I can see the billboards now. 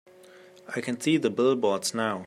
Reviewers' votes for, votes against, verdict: 2, 0, accepted